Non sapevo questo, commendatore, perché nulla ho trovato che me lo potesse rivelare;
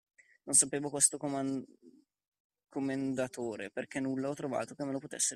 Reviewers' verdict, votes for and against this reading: rejected, 0, 2